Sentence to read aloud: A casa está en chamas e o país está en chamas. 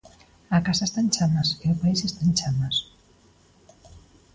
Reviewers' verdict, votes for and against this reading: accepted, 2, 0